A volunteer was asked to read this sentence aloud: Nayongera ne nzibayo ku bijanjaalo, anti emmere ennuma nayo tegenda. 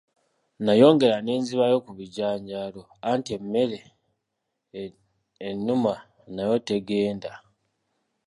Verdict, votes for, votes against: accepted, 2, 0